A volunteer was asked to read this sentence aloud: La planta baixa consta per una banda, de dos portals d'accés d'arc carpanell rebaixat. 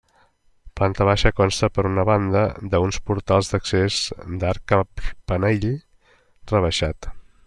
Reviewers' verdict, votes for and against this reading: rejected, 0, 2